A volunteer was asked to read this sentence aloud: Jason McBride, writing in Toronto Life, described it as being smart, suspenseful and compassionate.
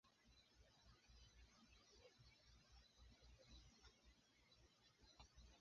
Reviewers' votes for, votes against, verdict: 0, 2, rejected